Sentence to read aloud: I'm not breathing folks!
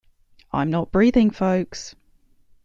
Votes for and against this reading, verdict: 2, 0, accepted